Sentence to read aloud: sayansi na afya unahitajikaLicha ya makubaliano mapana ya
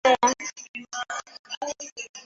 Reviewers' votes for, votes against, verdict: 0, 2, rejected